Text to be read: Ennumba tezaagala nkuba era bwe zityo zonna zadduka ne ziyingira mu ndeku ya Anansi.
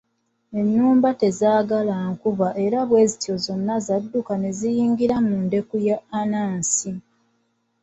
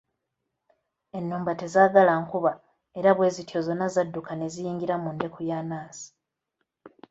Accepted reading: first